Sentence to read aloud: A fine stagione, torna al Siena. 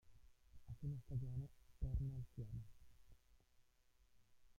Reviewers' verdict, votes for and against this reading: rejected, 0, 2